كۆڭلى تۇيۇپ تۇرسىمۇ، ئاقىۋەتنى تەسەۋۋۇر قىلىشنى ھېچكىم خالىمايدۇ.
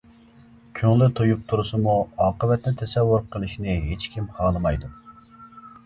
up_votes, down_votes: 2, 0